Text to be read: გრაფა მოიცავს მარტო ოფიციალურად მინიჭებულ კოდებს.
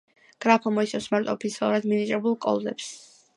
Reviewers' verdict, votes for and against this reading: rejected, 0, 2